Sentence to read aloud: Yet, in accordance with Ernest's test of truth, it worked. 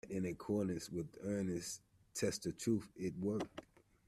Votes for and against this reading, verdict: 0, 2, rejected